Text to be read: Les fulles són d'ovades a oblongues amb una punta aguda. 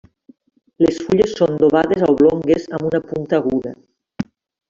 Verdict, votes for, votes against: rejected, 1, 2